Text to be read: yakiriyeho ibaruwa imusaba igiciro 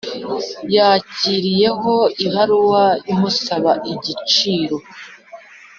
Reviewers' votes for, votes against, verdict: 3, 0, accepted